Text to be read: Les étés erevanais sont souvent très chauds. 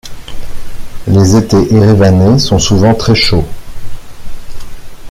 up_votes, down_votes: 2, 0